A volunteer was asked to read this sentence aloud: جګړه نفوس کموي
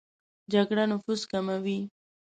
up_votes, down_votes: 2, 0